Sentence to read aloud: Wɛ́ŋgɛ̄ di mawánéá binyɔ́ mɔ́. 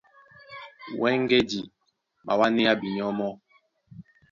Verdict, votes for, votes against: rejected, 1, 2